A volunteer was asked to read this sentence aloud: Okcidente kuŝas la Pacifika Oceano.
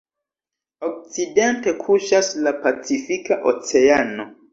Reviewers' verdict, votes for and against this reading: accepted, 2, 0